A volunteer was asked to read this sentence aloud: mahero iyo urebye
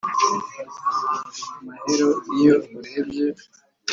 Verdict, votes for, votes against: rejected, 1, 2